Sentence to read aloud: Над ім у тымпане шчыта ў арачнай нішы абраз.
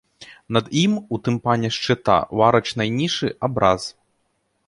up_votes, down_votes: 2, 0